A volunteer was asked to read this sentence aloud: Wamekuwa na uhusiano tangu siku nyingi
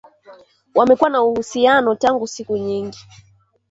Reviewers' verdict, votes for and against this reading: accepted, 2, 1